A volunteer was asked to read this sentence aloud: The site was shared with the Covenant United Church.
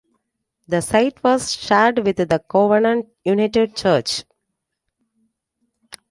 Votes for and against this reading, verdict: 1, 2, rejected